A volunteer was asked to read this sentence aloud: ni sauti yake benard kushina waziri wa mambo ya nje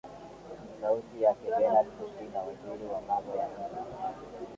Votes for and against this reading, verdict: 5, 6, rejected